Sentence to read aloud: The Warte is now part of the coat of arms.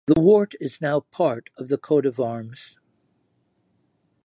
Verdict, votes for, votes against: accepted, 2, 0